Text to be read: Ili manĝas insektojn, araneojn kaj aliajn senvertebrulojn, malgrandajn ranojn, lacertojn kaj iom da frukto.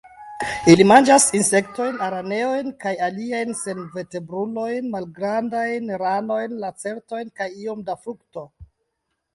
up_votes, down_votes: 1, 2